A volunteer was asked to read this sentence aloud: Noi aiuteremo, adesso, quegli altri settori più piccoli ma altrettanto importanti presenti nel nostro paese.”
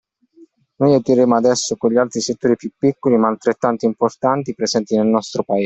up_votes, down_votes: 0, 2